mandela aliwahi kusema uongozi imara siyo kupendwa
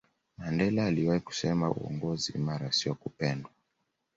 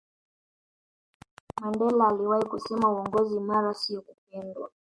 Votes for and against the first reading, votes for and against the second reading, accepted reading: 2, 0, 1, 2, first